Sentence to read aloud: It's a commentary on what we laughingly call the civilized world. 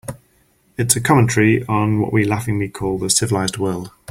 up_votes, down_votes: 4, 0